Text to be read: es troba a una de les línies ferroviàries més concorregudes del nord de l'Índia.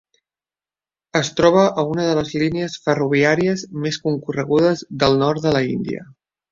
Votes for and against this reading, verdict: 1, 2, rejected